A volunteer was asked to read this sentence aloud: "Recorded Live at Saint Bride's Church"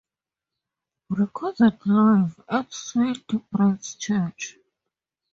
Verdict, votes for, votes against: rejected, 0, 2